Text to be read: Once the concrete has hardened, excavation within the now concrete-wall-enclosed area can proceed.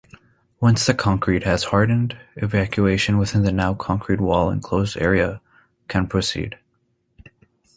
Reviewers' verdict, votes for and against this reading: rejected, 0, 2